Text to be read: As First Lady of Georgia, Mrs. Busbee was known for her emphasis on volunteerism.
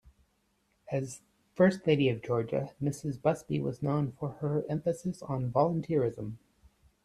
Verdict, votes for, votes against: accepted, 2, 0